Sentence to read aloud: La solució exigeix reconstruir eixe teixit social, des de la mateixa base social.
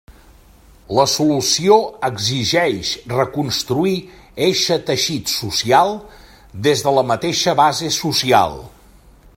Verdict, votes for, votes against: accepted, 3, 0